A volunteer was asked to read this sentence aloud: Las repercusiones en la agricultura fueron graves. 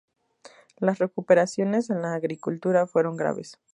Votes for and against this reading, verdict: 0, 2, rejected